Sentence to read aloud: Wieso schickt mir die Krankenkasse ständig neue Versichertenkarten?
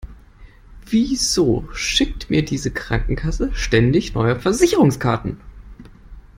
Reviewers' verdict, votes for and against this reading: rejected, 1, 2